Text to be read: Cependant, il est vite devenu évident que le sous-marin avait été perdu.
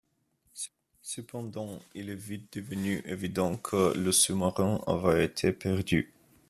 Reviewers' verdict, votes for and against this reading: rejected, 1, 2